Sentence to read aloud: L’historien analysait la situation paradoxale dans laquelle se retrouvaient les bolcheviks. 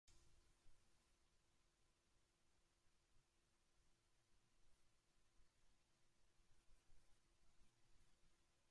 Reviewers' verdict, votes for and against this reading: rejected, 0, 2